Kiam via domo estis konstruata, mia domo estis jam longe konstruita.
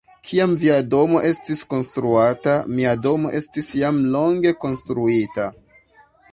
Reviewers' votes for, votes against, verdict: 2, 0, accepted